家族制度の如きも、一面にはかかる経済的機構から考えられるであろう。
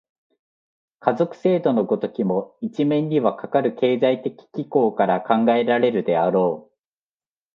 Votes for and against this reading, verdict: 3, 0, accepted